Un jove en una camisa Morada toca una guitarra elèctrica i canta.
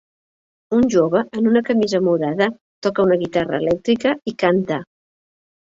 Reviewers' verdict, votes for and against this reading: accepted, 2, 0